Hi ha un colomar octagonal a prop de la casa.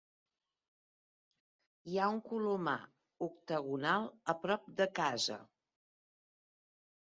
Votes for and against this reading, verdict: 0, 3, rejected